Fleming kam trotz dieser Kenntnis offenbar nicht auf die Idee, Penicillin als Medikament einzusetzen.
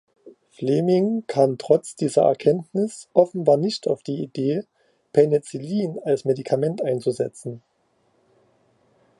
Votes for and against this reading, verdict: 2, 1, accepted